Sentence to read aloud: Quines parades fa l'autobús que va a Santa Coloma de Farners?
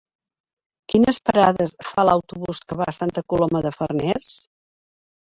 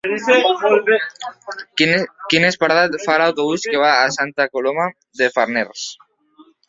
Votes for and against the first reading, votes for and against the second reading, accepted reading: 4, 2, 0, 2, first